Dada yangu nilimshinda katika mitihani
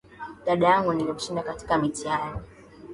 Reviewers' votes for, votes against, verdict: 6, 4, accepted